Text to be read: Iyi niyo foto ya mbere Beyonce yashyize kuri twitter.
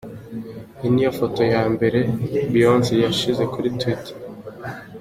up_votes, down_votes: 4, 1